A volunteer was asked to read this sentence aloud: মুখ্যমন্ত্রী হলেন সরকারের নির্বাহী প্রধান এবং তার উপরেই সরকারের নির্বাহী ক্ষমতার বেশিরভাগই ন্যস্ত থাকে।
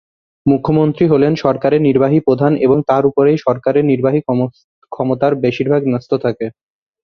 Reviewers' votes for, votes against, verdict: 1, 2, rejected